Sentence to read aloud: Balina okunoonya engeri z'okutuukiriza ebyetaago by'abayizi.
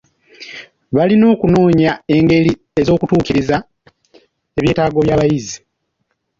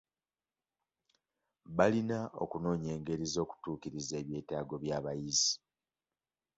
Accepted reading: second